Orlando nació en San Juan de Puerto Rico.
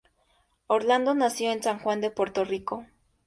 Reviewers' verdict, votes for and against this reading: accepted, 2, 0